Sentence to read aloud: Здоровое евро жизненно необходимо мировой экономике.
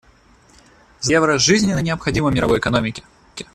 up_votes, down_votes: 0, 2